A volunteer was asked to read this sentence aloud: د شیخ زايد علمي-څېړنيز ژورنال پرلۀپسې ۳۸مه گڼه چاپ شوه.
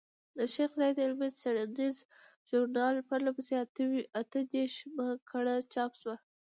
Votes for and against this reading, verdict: 0, 2, rejected